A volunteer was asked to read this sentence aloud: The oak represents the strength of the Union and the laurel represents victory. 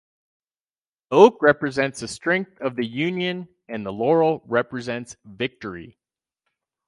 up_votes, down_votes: 2, 2